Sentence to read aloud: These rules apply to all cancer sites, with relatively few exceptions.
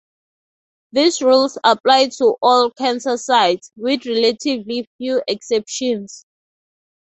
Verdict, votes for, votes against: accepted, 2, 0